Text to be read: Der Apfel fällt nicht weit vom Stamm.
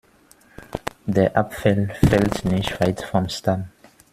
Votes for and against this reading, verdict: 2, 1, accepted